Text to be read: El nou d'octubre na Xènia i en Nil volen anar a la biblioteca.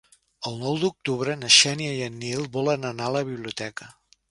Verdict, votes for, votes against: accepted, 4, 0